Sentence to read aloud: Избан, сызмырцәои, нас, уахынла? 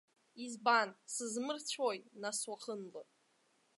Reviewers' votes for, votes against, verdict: 1, 2, rejected